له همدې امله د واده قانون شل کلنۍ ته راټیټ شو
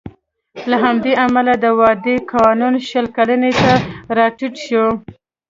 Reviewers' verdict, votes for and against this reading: rejected, 1, 2